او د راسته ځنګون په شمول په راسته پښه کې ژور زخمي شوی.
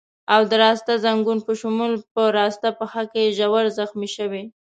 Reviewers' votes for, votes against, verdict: 2, 0, accepted